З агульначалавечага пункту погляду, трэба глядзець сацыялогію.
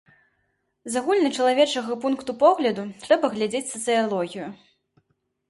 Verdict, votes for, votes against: accepted, 2, 0